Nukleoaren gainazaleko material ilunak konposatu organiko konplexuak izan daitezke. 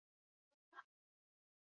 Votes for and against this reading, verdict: 0, 2, rejected